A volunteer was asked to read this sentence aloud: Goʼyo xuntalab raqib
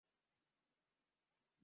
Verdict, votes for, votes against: rejected, 0, 2